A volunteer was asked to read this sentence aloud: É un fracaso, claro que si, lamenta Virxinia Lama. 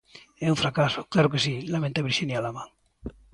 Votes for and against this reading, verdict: 2, 0, accepted